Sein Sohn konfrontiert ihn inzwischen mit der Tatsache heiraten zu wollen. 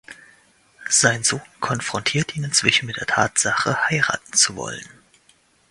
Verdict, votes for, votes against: accepted, 2, 0